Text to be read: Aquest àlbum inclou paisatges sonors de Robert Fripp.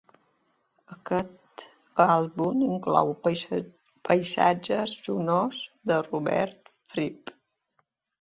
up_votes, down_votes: 2, 1